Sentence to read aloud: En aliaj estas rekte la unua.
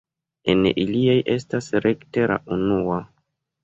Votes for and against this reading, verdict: 1, 2, rejected